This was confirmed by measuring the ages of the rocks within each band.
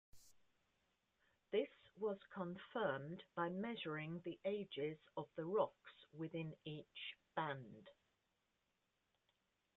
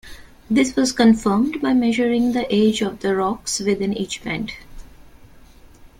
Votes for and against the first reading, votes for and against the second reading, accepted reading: 0, 2, 2, 0, second